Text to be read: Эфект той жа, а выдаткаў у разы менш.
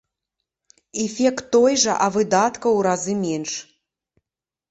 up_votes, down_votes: 2, 0